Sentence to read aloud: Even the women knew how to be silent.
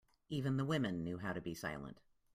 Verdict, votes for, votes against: accepted, 2, 0